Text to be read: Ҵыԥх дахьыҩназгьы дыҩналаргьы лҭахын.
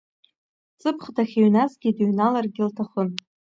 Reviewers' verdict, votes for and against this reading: rejected, 1, 2